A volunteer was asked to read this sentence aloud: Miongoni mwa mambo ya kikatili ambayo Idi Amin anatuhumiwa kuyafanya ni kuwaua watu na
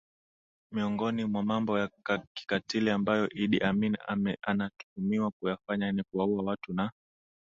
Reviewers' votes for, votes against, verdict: 3, 0, accepted